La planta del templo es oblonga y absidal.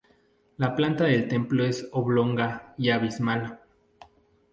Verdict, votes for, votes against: rejected, 0, 2